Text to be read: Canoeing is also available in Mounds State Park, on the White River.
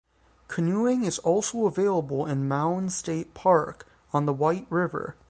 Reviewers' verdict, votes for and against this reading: accepted, 3, 0